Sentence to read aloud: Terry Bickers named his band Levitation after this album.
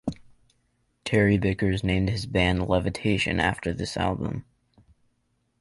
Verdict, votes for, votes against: accepted, 2, 0